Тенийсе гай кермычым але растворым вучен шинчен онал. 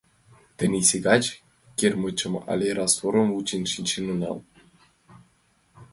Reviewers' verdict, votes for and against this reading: accepted, 2, 1